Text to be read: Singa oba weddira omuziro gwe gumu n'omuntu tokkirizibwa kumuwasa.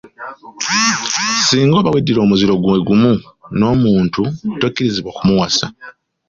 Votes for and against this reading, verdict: 2, 0, accepted